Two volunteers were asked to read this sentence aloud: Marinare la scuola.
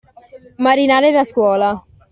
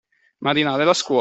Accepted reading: first